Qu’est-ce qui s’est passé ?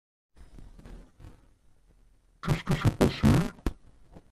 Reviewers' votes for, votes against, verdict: 1, 2, rejected